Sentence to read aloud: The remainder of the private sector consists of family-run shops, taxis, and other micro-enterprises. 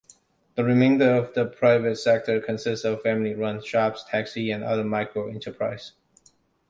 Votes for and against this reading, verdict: 1, 2, rejected